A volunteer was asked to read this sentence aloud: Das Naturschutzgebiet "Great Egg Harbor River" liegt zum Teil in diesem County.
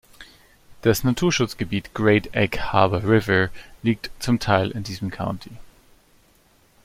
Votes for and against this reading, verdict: 2, 0, accepted